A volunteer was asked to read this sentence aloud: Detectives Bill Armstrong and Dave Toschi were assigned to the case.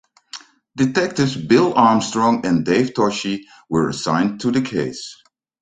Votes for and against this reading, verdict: 2, 0, accepted